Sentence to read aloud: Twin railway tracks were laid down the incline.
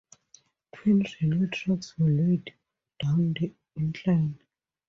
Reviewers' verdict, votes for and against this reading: rejected, 0, 2